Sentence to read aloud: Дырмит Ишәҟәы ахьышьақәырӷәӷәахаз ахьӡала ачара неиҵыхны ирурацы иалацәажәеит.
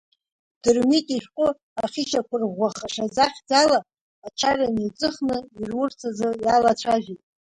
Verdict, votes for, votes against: rejected, 0, 3